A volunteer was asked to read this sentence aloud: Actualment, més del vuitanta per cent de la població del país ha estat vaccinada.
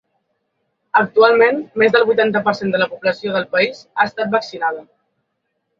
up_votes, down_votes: 3, 0